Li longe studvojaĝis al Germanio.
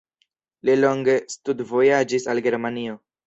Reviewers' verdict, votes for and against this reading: accepted, 2, 0